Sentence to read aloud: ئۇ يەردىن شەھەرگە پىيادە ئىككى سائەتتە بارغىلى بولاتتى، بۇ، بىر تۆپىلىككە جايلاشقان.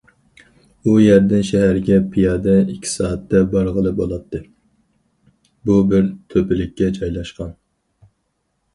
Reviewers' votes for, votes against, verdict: 4, 0, accepted